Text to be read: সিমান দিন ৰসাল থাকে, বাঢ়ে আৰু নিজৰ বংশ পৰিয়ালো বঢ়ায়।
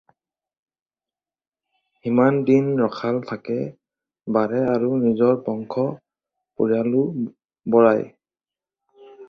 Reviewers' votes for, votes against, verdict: 2, 2, rejected